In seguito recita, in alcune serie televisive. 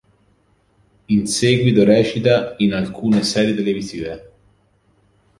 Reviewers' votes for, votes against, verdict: 2, 0, accepted